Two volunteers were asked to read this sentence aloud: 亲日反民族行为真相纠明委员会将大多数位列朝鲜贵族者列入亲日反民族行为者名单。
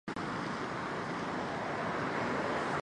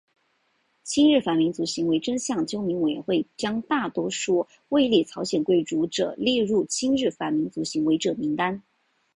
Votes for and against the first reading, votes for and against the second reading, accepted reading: 0, 4, 3, 1, second